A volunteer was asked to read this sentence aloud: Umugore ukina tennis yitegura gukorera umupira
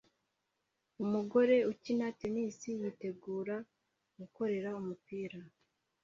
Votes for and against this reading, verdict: 2, 0, accepted